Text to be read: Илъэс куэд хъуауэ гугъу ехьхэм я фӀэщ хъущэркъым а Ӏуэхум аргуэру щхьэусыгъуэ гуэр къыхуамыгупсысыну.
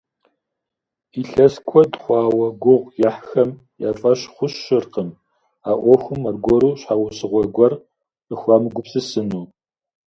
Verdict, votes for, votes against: accepted, 2, 0